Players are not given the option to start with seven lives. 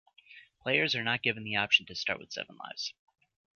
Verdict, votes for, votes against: accepted, 2, 1